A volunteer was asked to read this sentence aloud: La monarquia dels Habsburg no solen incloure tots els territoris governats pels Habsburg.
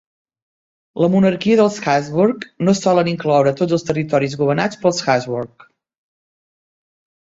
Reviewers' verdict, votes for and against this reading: rejected, 1, 2